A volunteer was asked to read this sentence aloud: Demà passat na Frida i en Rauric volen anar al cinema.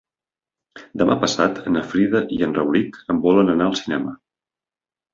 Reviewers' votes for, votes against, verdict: 2, 3, rejected